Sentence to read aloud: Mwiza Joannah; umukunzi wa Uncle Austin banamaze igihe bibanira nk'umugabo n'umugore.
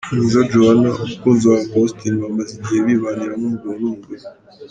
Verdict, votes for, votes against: accepted, 2, 1